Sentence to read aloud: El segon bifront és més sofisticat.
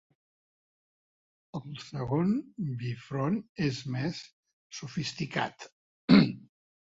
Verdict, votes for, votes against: accepted, 3, 1